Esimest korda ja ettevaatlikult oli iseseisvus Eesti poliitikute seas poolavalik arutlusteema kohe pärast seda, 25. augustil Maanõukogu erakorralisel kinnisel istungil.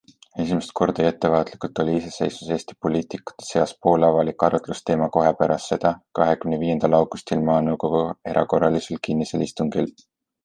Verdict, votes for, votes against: rejected, 0, 2